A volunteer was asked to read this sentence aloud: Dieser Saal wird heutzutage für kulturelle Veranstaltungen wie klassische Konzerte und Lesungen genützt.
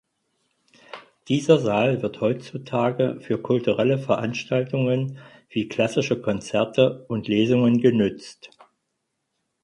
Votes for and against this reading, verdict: 4, 0, accepted